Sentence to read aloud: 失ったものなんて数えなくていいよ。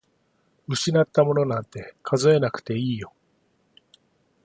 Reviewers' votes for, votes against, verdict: 2, 0, accepted